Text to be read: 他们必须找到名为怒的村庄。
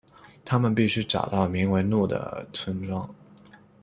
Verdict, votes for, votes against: accepted, 2, 0